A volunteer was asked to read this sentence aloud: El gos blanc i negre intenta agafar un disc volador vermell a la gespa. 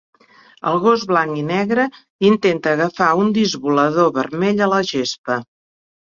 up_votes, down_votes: 3, 0